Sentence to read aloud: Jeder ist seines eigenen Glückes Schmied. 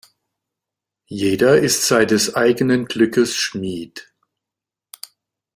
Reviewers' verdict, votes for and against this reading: accepted, 2, 1